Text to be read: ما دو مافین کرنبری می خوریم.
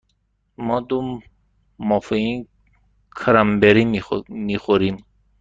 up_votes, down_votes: 1, 2